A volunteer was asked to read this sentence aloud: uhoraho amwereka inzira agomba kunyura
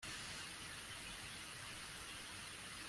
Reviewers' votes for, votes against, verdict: 1, 2, rejected